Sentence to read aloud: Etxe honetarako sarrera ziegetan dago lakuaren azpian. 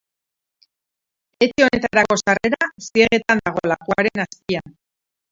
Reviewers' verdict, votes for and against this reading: rejected, 0, 2